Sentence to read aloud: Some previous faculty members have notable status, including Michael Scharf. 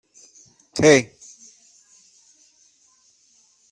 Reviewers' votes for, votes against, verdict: 0, 2, rejected